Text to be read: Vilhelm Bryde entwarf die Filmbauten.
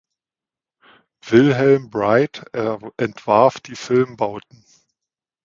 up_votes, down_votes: 1, 2